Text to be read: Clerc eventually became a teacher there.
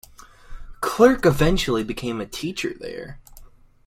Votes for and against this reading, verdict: 2, 0, accepted